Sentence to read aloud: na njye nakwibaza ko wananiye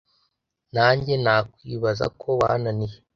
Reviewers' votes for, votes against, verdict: 1, 2, rejected